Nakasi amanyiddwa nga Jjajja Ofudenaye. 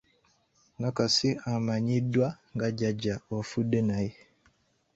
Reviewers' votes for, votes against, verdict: 2, 1, accepted